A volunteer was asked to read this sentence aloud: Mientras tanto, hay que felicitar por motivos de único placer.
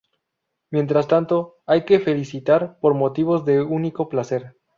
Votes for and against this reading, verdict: 2, 0, accepted